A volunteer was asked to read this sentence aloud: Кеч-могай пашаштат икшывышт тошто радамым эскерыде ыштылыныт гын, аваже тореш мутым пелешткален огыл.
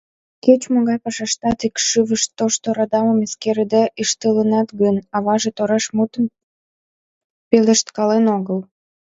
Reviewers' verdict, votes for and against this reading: rejected, 1, 2